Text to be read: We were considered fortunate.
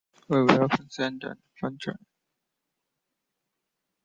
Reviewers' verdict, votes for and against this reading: rejected, 0, 2